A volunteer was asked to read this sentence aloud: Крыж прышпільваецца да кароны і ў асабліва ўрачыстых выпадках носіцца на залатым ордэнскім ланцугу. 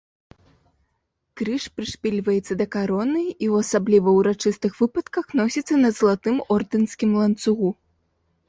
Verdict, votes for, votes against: rejected, 1, 2